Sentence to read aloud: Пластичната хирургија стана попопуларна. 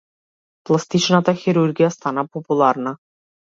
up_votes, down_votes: 0, 2